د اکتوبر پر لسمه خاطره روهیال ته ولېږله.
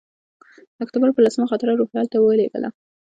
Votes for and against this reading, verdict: 2, 0, accepted